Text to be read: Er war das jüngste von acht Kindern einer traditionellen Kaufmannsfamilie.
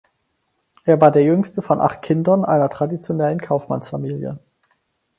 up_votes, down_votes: 2, 4